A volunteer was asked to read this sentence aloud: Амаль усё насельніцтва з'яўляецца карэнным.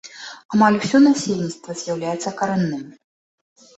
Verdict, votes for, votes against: rejected, 1, 2